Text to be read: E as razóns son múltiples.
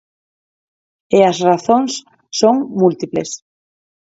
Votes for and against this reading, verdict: 6, 0, accepted